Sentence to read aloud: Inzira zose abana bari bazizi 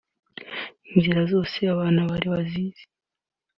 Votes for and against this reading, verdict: 3, 0, accepted